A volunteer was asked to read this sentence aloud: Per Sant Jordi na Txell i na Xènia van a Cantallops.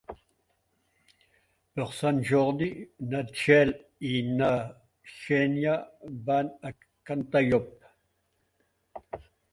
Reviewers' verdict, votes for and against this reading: rejected, 1, 2